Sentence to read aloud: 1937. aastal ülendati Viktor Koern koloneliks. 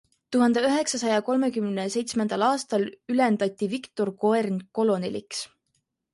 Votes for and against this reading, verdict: 0, 2, rejected